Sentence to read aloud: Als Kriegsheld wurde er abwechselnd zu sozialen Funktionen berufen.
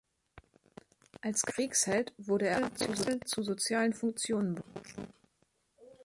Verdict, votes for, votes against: rejected, 1, 2